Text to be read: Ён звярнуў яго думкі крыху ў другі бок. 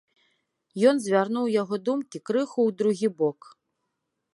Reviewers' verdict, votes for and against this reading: accepted, 2, 1